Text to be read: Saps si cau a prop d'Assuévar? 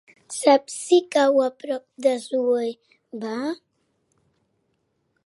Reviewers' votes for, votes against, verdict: 2, 1, accepted